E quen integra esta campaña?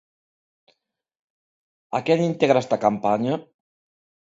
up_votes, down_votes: 0, 2